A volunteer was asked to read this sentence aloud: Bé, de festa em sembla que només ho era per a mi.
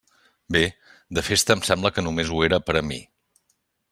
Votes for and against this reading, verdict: 3, 0, accepted